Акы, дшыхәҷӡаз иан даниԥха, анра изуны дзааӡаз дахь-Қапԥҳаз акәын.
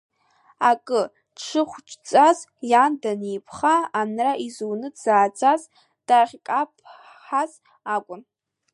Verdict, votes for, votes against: rejected, 0, 2